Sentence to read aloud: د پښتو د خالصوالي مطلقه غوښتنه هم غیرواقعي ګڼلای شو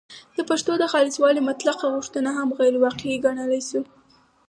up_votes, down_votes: 4, 2